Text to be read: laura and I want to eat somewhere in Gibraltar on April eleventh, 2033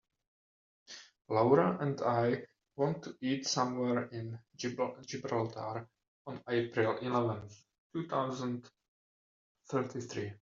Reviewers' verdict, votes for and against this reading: rejected, 0, 2